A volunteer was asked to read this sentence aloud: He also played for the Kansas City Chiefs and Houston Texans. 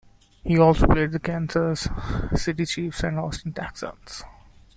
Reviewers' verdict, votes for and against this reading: rejected, 0, 2